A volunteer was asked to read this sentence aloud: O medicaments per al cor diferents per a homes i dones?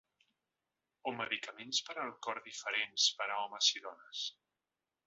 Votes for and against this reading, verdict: 2, 1, accepted